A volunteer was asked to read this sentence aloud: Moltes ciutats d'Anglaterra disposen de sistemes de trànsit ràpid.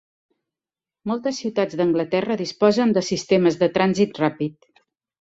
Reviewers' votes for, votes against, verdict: 3, 0, accepted